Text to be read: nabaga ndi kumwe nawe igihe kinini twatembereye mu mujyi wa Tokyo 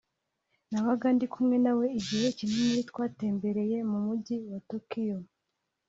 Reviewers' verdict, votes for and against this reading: rejected, 1, 2